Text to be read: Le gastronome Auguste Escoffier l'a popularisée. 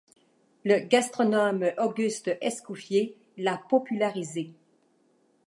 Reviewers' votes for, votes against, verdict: 2, 0, accepted